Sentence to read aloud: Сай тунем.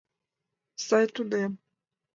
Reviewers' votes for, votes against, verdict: 2, 0, accepted